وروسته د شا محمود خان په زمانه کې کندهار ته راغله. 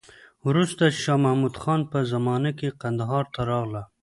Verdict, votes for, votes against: rejected, 1, 2